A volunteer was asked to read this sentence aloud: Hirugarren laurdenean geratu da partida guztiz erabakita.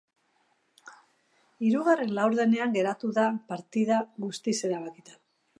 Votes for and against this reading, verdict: 3, 0, accepted